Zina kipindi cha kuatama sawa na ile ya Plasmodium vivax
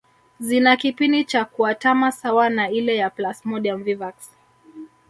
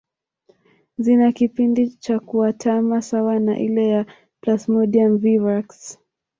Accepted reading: second